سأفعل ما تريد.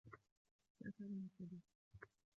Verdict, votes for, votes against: rejected, 1, 2